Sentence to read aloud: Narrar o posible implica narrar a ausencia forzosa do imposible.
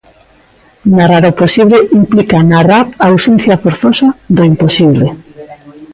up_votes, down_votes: 2, 1